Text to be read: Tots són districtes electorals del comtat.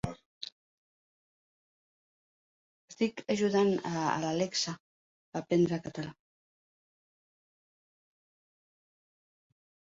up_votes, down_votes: 0, 3